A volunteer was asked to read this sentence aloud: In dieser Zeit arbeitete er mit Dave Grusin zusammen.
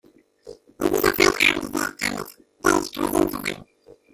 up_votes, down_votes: 0, 2